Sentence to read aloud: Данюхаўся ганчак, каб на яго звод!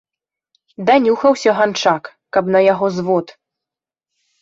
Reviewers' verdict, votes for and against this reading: accepted, 2, 0